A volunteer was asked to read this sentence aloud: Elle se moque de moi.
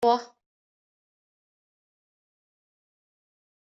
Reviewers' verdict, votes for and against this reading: rejected, 0, 2